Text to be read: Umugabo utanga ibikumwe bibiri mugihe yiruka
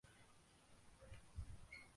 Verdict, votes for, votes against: rejected, 0, 2